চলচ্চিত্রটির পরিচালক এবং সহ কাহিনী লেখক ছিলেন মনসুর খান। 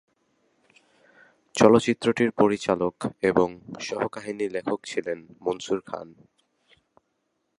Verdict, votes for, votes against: accepted, 2, 0